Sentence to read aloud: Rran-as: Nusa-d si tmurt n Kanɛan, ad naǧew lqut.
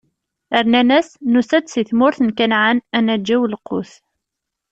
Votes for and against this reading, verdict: 0, 2, rejected